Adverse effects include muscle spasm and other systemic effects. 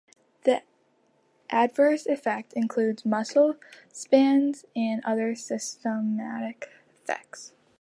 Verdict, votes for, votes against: rejected, 1, 2